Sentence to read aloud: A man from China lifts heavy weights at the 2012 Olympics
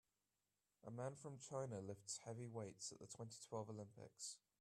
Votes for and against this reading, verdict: 0, 2, rejected